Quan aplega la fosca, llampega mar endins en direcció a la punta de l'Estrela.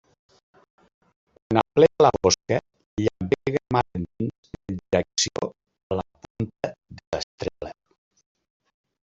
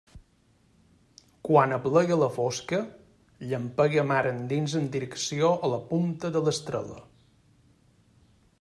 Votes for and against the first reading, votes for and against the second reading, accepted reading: 0, 2, 2, 0, second